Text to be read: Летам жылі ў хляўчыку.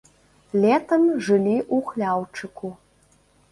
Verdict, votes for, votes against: rejected, 1, 2